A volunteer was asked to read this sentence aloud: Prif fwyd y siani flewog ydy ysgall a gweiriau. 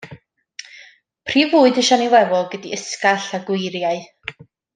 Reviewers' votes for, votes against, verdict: 2, 0, accepted